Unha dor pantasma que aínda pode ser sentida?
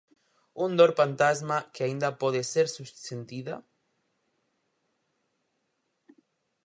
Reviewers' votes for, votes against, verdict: 0, 4, rejected